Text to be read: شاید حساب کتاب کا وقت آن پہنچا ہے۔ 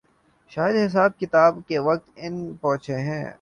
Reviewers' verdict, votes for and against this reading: rejected, 1, 2